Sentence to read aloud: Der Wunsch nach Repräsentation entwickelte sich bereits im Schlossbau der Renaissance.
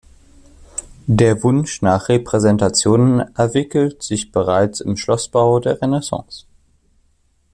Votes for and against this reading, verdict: 0, 2, rejected